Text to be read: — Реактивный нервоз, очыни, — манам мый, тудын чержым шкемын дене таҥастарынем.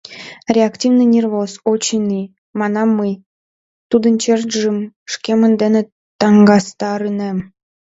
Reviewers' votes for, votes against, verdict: 1, 2, rejected